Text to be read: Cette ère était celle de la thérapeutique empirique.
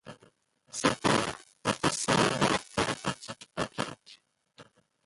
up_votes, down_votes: 0, 2